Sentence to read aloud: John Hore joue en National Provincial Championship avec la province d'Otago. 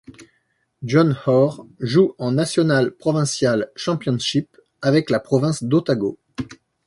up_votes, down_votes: 2, 0